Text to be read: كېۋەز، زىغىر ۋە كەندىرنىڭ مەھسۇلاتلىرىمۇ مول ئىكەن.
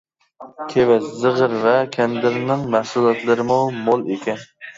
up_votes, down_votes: 0, 2